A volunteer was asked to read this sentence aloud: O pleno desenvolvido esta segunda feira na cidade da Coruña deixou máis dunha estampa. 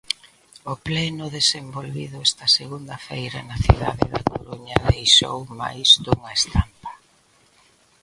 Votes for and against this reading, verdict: 0, 2, rejected